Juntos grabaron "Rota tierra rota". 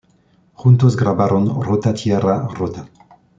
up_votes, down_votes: 2, 0